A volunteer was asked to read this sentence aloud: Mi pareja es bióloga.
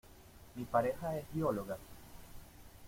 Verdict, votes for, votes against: rejected, 1, 2